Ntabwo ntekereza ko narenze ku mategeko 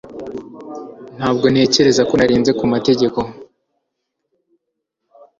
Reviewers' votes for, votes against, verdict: 2, 0, accepted